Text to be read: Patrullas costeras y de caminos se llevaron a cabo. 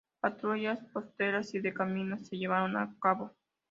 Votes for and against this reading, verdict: 2, 0, accepted